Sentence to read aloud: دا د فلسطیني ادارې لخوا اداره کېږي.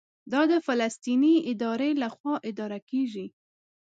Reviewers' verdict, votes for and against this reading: accepted, 2, 0